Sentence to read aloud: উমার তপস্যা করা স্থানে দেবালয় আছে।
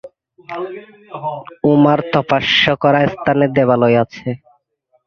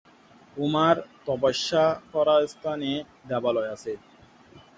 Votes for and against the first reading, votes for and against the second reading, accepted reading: 0, 2, 4, 0, second